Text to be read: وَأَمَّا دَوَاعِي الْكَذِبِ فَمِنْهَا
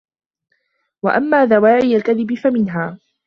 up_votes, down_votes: 2, 1